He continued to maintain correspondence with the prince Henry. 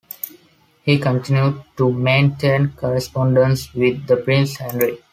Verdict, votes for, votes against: accepted, 2, 0